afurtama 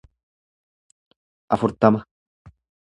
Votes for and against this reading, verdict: 2, 0, accepted